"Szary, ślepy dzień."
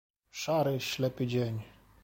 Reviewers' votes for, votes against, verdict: 2, 0, accepted